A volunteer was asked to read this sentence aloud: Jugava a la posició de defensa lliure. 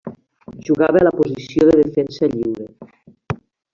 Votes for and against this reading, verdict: 1, 2, rejected